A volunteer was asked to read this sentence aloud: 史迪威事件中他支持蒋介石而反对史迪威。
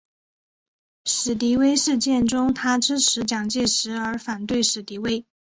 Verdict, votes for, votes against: accepted, 3, 0